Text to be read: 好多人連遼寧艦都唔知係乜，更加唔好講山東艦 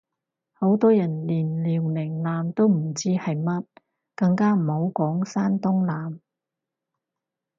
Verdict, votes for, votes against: accepted, 4, 0